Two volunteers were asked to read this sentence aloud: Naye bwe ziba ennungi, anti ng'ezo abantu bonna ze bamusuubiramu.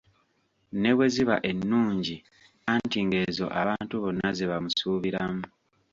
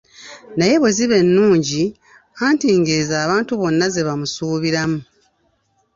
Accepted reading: second